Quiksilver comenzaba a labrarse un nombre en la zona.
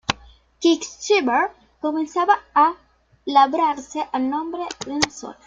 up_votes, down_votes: 0, 2